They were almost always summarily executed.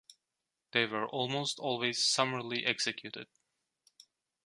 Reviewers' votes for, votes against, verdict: 2, 0, accepted